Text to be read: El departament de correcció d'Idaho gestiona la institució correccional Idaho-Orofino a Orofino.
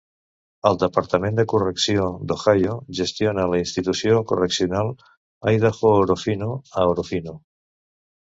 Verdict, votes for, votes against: rejected, 0, 2